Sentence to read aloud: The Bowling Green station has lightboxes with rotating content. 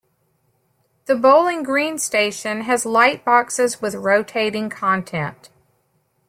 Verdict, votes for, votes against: accepted, 2, 0